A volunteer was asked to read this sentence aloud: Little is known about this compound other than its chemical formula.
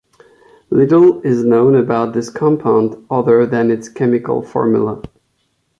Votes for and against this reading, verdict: 2, 0, accepted